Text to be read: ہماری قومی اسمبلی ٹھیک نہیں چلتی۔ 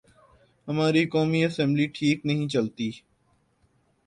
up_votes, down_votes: 6, 0